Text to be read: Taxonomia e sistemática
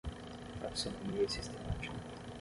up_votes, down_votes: 3, 3